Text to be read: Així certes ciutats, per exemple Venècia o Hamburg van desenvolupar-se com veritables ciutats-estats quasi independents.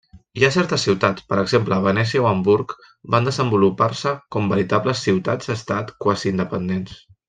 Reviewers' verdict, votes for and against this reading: rejected, 0, 2